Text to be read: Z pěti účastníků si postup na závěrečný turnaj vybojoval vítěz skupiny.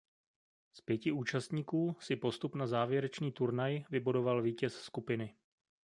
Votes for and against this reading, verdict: 1, 2, rejected